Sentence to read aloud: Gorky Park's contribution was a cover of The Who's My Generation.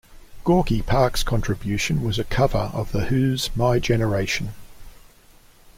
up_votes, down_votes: 2, 0